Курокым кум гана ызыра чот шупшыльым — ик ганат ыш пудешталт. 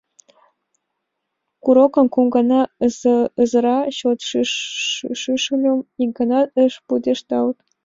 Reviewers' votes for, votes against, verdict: 0, 5, rejected